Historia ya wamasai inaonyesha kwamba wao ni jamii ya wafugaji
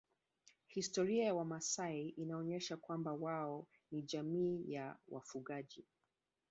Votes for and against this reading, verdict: 2, 1, accepted